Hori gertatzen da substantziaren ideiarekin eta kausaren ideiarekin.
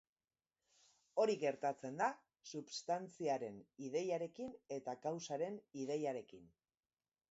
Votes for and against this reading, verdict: 3, 1, accepted